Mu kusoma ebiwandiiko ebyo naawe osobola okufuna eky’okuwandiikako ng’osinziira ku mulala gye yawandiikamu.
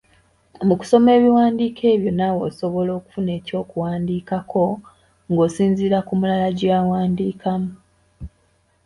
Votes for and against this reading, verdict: 2, 0, accepted